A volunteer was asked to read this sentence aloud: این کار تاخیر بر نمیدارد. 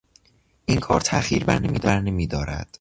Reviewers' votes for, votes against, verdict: 1, 2, rejected